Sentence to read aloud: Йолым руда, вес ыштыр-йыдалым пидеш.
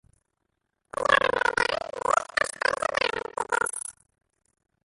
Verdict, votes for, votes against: rejected, 0, 2